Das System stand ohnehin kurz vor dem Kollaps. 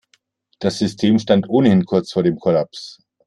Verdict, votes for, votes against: accepted, 2, 0